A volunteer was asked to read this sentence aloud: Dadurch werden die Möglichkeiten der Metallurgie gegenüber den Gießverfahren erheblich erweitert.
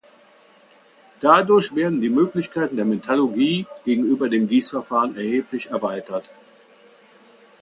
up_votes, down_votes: 2, 0